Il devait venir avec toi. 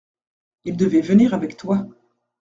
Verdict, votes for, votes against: accepted, 2, 0